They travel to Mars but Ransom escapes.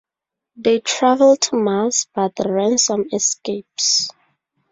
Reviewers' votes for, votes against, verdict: 0, 2, rejected